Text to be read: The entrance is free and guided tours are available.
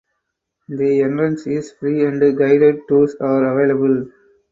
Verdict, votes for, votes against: rejected, 2, 4